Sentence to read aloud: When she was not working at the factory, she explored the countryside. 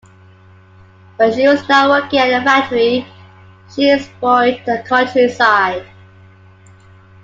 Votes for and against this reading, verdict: 0, 2, rejected